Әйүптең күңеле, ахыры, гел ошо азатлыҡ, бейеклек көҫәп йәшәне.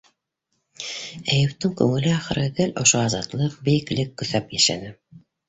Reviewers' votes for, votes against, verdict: 2, 1, accepted